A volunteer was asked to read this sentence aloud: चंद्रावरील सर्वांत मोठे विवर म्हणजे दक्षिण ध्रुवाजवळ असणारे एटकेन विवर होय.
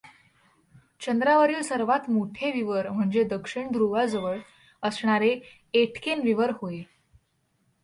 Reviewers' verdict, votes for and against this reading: accepted, 3, 0